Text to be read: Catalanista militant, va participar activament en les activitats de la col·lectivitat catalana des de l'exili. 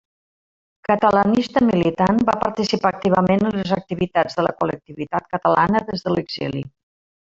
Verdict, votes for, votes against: accepted, 3, 1